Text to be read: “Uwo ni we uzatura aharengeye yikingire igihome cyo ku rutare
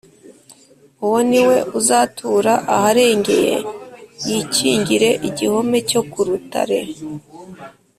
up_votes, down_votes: 2, 0